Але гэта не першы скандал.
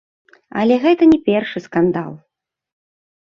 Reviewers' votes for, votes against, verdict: 2, 0, accepted